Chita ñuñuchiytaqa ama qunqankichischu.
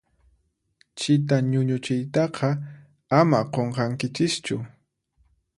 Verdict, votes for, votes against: accepted, 4, 0